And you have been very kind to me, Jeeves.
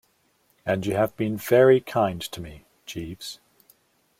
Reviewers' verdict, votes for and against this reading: accepted, 2, 0